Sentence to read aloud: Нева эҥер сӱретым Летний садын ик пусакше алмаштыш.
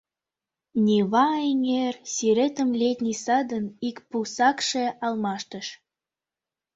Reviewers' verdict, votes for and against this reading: accepted, 2, 1